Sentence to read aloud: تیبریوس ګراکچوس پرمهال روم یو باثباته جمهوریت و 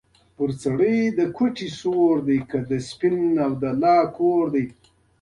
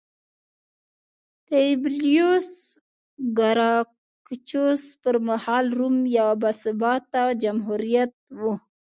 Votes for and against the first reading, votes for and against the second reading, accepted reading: 1, 2, 2, 0, second